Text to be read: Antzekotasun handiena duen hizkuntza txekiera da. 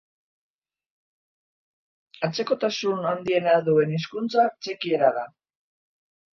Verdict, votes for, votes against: accepted, 4, 0